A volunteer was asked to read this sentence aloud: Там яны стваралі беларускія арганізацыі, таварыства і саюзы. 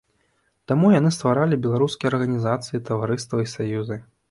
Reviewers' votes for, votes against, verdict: 1, 2, rejected